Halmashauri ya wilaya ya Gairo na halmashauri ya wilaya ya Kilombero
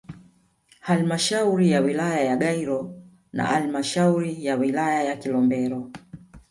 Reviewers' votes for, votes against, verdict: 1, 2, rejected